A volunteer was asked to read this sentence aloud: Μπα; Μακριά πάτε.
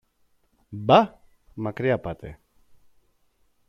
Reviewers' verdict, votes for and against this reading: accepted, 2, 0